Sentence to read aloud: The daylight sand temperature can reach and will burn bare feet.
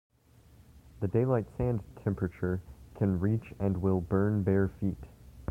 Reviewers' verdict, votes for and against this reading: accepted, 2, 0